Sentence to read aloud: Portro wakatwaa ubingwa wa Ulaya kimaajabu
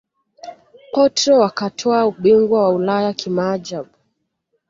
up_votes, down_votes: 2, 0